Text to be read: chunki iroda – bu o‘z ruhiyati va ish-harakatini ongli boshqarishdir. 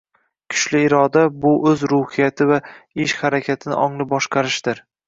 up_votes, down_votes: 1, 2